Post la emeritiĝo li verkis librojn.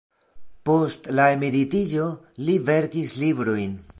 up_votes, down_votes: 2, 0